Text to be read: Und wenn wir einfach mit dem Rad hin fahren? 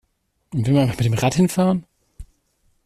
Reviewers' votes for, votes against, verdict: 1, 2, rejected